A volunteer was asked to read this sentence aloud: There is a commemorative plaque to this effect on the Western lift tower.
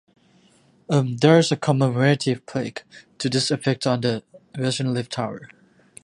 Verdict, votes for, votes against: rejected, 0, 2